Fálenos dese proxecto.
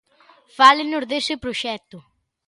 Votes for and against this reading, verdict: 2, 0, accepted